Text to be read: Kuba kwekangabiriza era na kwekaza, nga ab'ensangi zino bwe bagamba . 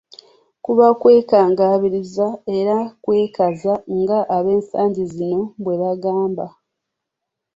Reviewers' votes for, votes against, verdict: 2, 1, accepted